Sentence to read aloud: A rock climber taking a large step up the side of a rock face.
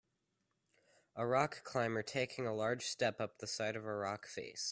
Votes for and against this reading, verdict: 2, 0, accepted